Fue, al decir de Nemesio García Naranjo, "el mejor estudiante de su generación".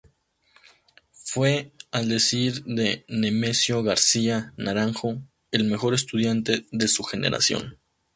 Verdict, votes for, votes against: accepted, 2, 0